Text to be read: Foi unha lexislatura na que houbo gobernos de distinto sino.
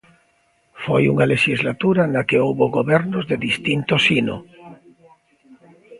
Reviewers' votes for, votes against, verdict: 1, 2, rejected